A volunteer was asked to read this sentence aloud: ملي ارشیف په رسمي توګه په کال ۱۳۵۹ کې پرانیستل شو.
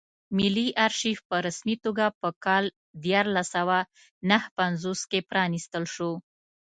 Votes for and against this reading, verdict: 0, 2, rejected